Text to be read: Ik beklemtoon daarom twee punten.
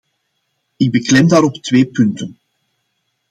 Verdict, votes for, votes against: rejected, 0, 2